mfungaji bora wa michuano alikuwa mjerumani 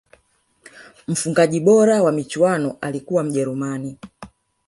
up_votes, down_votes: 2, 1